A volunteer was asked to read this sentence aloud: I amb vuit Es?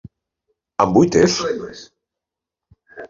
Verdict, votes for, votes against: rejected, 1, 2